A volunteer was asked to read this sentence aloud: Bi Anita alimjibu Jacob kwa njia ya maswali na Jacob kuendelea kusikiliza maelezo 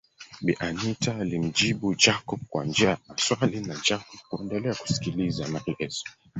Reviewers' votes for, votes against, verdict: 2, 3, rejected